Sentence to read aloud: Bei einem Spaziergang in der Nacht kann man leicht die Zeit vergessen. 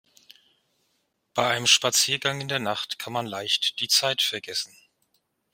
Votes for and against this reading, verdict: 0, 2, rejected